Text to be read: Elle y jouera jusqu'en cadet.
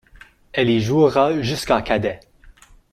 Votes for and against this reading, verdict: 1, 2, rejected